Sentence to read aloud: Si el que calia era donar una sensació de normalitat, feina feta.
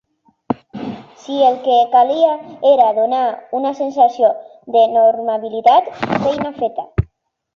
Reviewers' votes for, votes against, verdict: 0, 2, rejected